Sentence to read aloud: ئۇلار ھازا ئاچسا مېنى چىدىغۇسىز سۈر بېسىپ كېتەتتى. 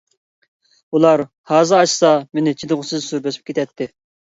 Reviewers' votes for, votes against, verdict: 2, 0, accepted